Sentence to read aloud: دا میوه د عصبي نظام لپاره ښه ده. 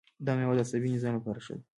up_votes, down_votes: 2, 1